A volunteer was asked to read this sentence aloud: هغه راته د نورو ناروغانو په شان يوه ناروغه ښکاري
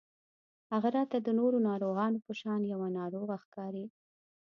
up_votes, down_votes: 2, 0